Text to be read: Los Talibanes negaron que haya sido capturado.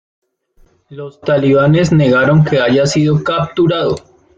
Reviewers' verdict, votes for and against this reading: accepted, 2, 0